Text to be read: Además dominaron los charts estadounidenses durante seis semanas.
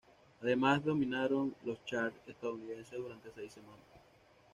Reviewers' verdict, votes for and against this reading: accepted, 2, 0